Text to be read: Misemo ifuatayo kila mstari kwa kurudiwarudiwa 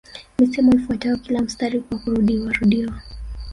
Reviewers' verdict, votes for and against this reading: rejected, 0, 2